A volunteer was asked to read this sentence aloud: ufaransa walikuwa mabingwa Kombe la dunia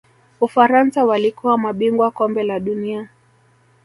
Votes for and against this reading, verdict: 0, 2, rejected